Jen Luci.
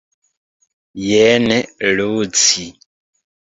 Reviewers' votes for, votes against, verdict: 0, 2, rejected